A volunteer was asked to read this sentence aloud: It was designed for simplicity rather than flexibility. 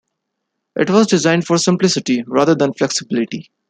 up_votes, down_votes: 2, 0